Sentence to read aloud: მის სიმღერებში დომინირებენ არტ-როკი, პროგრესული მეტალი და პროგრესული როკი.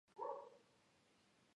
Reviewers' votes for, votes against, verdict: 1, 2, rejected